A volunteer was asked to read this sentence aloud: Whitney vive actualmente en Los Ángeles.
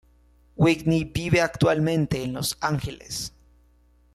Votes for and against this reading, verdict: 2, 0, accepted